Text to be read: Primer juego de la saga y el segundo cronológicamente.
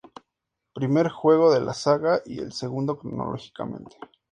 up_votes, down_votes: 2, 0